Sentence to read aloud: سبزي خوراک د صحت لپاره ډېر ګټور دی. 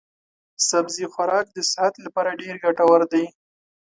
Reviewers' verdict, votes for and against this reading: accepted, 2, 0